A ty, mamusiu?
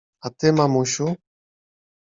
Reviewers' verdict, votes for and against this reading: accepted, 2, 0